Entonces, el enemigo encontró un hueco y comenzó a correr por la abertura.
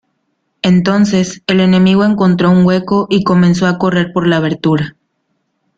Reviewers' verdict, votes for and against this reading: rejected, 0, 2